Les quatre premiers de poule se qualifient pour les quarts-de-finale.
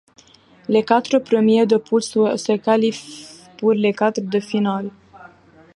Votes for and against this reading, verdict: 0, 2, rejected